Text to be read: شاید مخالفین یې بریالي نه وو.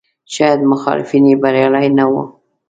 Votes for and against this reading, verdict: 2, 0, accepted